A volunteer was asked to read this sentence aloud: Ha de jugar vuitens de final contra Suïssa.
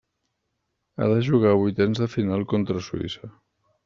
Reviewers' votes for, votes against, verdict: 2, 0, accepted